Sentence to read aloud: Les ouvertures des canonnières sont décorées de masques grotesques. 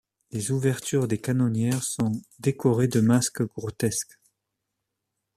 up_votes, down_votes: 2, 1